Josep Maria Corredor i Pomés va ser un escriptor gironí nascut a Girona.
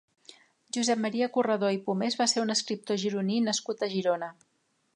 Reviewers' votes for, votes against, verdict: 3, 0, accepted